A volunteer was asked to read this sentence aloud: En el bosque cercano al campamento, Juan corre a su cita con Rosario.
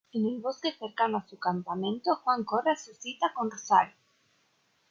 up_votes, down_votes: 1, 2